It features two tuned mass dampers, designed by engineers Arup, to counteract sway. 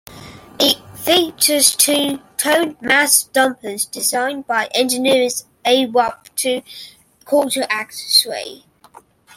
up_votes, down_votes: 2, 0